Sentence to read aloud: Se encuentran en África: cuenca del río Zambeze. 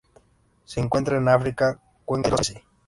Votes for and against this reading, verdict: 0, 2, rejected